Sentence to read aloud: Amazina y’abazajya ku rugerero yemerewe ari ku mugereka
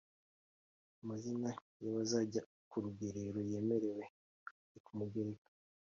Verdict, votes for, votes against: accepted, 2, 0